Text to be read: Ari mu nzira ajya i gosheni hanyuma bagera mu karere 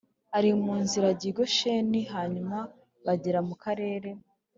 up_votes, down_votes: 3, 0